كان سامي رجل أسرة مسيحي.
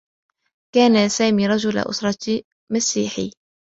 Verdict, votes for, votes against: accepted, 2, 0